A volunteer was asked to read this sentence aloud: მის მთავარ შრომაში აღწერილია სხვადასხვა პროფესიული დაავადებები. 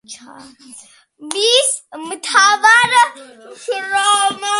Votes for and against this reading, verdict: 0, 2, rejected